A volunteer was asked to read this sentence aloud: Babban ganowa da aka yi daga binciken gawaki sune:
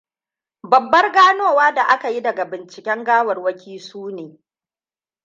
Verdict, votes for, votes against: rejected, 1, 2